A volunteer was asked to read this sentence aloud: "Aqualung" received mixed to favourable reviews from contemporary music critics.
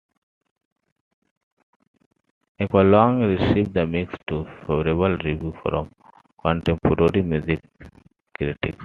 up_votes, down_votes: 1, 2